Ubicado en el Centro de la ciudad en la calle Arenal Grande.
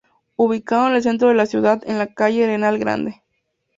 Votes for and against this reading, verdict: 2, 0, accepted